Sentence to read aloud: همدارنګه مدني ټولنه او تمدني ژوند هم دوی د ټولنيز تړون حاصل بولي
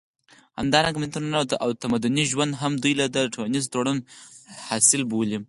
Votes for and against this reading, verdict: 0, 4, rejected